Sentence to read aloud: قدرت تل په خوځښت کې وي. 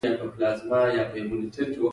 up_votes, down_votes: 3, 0